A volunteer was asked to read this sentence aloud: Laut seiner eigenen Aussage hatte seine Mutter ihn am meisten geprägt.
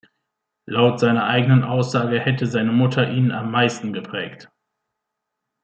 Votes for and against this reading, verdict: 0, 2, rejected